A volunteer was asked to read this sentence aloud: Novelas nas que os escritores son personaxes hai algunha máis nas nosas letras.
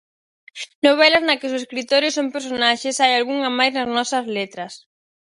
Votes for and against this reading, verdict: 0, 4, rejected